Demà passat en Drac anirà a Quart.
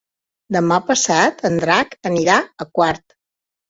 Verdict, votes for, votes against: accepted, 3, 0